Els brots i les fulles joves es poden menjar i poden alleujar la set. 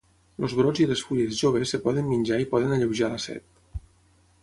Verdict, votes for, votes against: rejected, 3, 6